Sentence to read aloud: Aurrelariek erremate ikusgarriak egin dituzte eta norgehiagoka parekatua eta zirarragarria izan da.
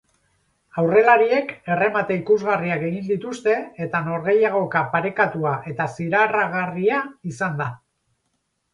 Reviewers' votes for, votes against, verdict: 0, 2, rejected